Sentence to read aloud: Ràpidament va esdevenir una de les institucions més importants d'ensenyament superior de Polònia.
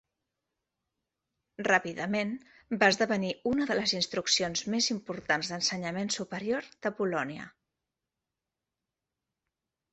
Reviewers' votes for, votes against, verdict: 0, 2, rejected